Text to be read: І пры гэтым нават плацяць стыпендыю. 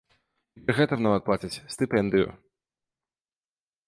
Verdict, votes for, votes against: rejected, 0, 2